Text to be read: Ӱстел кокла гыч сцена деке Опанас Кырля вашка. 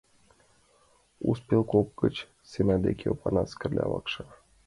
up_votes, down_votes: 0, 2